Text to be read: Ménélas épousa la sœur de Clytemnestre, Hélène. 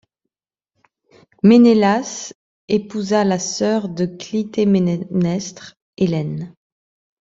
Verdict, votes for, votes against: rejected, 0, 2